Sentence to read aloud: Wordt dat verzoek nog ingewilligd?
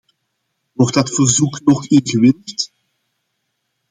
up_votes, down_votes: 1, 2